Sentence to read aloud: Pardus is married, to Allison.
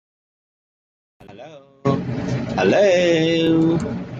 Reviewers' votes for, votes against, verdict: 0, 2, rejected